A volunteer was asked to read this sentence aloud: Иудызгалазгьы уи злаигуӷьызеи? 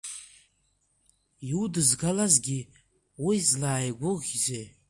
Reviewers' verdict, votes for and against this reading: rejected, 0, 2